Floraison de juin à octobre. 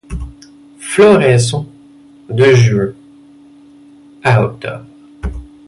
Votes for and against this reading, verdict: 1, 2, rejected